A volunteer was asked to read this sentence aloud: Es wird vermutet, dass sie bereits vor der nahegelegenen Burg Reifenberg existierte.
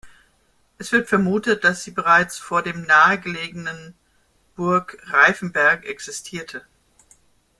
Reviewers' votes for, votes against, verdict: 0, 2, rejected